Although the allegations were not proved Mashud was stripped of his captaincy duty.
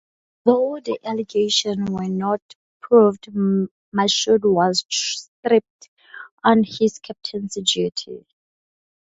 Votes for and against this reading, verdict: 0, 2, rejected